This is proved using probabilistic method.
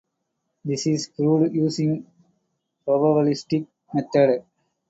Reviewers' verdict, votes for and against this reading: rejected, 0, 2